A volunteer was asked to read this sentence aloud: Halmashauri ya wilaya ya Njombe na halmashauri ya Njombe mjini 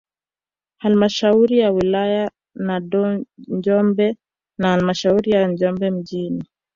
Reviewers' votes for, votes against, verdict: 0, 2, rejected